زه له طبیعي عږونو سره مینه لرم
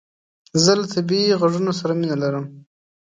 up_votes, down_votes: 2, 1